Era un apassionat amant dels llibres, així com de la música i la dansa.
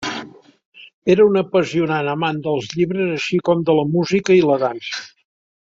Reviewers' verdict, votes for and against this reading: rejected, 0, 2